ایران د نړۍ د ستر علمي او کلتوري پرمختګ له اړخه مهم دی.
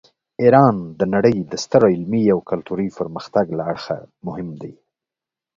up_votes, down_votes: 2, 0